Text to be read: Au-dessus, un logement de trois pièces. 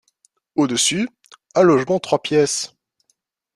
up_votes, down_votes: 0, 2